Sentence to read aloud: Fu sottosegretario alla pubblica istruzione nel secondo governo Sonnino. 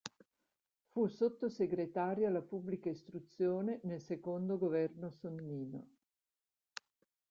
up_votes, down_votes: 2, 1